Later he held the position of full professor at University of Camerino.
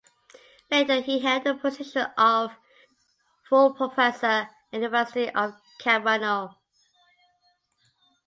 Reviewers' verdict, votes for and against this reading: rejected, 1, 2